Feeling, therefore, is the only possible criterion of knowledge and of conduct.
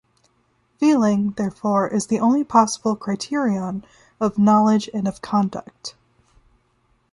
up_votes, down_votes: 2, 0